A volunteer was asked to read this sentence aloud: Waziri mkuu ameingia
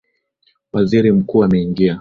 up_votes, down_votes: 2, 0